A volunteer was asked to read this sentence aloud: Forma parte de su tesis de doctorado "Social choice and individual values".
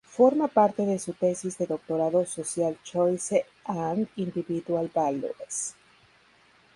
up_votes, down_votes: 0, 2